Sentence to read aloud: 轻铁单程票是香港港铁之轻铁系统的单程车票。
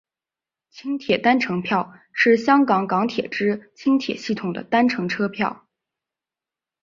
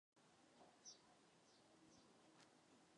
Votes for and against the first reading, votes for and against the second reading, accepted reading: 3, 0, 2, 3, first